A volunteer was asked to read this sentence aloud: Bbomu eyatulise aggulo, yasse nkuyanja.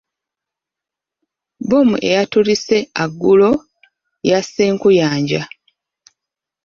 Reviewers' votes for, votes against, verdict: 1, 2, rejected